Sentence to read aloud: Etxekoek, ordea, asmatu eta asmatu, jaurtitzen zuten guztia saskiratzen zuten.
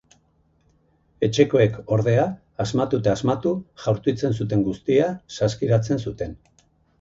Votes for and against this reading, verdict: 6, 0, accepted